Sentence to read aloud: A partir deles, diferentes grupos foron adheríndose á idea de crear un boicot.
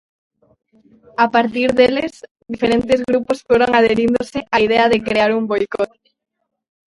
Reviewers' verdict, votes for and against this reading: rejected, 0, 2